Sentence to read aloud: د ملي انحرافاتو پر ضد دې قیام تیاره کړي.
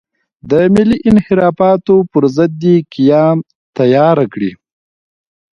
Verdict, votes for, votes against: rejected, 0, 2